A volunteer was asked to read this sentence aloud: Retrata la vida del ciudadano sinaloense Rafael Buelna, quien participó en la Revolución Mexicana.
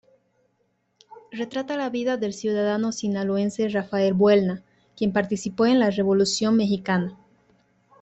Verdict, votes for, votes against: accepted, 2, 1